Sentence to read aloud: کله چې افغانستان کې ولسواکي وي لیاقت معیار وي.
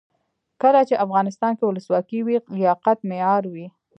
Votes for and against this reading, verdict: 1, 2, rejected